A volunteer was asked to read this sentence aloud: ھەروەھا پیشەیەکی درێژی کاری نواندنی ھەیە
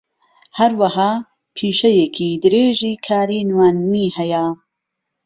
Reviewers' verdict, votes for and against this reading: accepted, 2, 0